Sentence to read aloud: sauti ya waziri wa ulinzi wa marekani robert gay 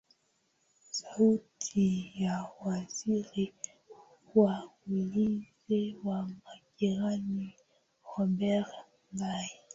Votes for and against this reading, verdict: 6, 3, accepted